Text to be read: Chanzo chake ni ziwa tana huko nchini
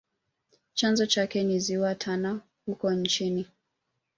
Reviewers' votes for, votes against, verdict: 2, 0, accepted